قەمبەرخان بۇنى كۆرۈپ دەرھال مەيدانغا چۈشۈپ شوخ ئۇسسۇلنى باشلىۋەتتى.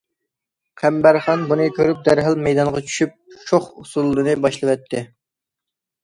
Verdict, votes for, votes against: accepted, 2, 0